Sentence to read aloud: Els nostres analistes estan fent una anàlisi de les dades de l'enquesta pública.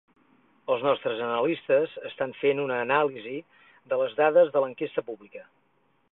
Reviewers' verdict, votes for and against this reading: accepted, 8, 0